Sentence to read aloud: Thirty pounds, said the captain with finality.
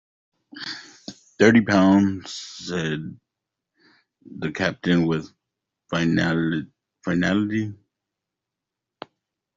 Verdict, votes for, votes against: rejected, 0, 2